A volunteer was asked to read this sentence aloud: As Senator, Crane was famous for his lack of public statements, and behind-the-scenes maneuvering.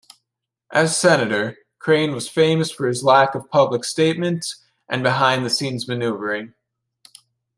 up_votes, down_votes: 2, 0